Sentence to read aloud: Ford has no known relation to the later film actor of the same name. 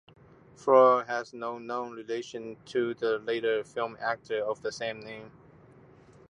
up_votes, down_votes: 2, 1